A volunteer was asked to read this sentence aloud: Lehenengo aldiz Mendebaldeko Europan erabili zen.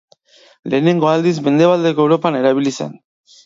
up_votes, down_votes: 2, 0